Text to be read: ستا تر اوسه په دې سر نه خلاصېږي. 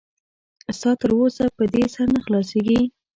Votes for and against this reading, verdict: 2, 0, accepted